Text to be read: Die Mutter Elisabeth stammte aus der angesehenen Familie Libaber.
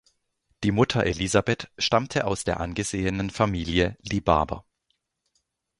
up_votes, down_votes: 2, 0